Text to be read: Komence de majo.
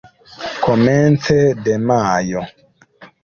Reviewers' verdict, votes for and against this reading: accepted, 2, 0